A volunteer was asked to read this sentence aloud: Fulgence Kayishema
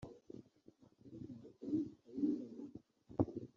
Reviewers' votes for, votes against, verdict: 1, 2, rejected